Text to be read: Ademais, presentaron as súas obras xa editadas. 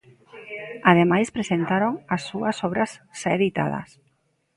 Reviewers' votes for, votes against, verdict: 2, 0, accepted